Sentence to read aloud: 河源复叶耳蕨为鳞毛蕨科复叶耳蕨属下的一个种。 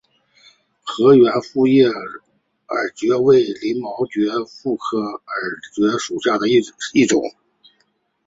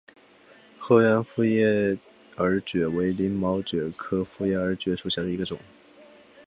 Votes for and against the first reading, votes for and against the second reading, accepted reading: 0, 2, 2, 1, second